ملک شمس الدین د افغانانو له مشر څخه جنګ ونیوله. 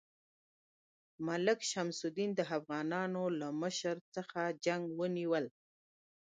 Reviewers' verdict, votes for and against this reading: rejected, 1, 2